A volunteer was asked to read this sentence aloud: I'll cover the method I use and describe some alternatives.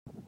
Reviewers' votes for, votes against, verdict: 0, 2, rejected